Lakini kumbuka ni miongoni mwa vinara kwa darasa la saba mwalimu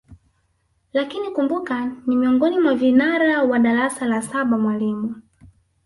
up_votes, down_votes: 3, 0